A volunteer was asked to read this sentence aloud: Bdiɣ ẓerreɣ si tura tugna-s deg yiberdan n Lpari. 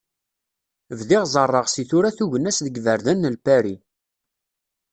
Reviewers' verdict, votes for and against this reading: accepted, 2, 0